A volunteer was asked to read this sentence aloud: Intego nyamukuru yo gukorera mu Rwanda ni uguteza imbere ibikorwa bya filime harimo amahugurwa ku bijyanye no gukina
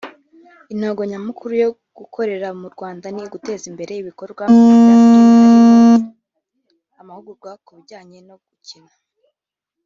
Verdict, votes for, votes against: rejected, 2, 5